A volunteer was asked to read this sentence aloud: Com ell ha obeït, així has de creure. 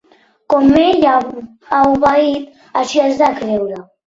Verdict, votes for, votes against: rejected, 1, 2